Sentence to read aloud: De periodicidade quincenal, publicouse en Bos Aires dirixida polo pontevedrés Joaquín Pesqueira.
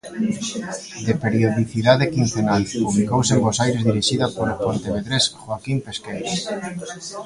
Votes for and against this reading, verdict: 2, 1, accepted